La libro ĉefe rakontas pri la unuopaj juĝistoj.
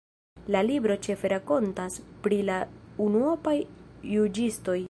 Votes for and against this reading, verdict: 2, 0, accepted